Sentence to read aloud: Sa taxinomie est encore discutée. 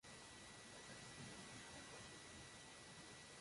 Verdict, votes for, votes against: rejected, 0, 2